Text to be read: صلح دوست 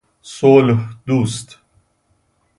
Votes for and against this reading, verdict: 2, 0, accepted